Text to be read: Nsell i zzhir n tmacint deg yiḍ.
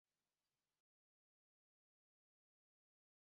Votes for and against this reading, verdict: 0, 2, rejected